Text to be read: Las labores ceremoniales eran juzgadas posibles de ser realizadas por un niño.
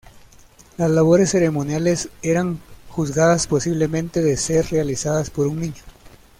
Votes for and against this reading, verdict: 0, 2, rejected